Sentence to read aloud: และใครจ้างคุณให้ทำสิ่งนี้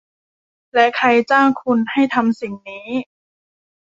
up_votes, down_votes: 2, 0